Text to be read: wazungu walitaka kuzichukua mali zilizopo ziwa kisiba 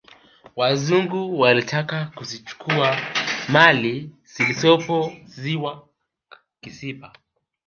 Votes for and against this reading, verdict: 2, 1, accepted